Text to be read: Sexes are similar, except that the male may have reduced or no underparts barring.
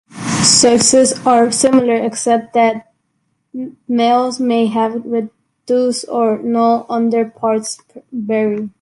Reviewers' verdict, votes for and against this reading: rejected, 1, 2